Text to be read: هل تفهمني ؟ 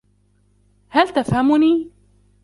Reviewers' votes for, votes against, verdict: 2, 0, accepted